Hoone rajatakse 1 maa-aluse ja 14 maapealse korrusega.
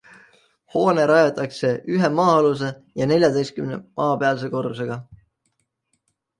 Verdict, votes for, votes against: rejected, 0, 2